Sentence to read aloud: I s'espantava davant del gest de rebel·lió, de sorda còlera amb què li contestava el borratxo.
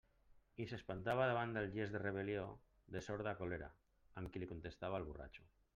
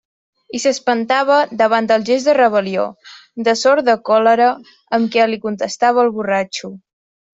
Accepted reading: second